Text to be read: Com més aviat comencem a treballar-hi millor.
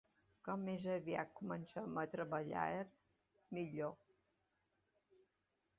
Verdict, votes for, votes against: rejected, 1, 2